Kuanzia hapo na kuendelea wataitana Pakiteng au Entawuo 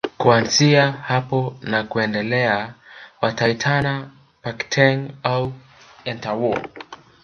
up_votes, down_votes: 1, 2